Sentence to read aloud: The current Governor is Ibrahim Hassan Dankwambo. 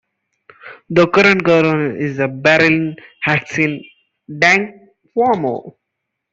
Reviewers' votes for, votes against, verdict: 0, 2, rejected